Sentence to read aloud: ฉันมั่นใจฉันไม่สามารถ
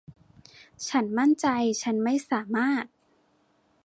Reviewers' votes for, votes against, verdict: 2, 0, accepted